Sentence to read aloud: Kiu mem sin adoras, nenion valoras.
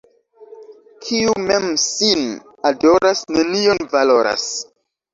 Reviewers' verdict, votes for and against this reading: accepted, 2, 0